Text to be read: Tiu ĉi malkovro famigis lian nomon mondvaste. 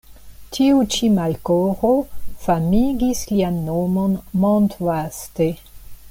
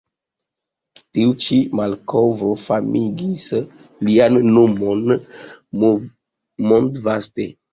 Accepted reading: first